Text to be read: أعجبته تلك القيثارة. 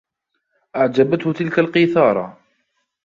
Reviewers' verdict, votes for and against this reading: accepted, 2, 1